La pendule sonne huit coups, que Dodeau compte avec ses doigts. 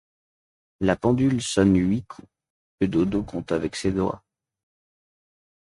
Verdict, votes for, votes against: rejected, 0, 2